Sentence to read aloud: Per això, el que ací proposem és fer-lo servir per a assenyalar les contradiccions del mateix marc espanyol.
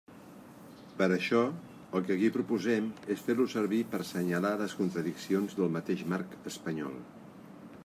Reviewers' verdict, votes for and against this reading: rejected, 1, 2